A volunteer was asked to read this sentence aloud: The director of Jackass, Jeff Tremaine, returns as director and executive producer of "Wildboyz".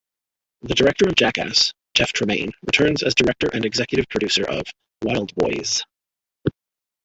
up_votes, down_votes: 1, 2